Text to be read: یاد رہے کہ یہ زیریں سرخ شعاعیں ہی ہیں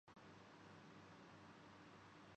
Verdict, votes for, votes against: rejected, 1, 6